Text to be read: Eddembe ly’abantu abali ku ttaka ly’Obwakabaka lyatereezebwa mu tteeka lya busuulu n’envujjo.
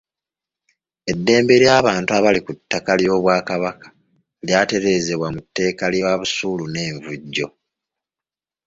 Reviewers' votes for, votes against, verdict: 2, 0, accepted